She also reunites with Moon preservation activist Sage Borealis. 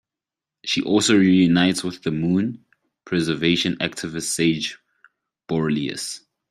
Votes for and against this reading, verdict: 1, 2, rejected